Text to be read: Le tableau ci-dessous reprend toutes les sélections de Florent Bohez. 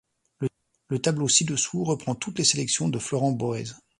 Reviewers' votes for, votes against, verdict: 1, 2, rejected